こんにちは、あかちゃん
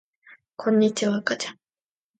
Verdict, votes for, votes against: accepted, 2, 0